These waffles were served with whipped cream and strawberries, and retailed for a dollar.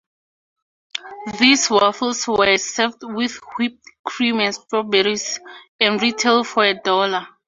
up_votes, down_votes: 2, 0